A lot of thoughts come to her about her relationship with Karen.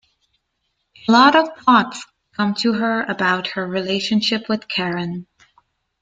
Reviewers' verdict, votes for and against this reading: rejected, 0, 2